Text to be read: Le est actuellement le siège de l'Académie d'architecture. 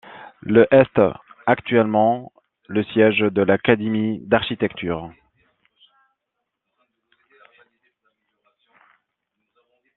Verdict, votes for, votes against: rejected, 0, 2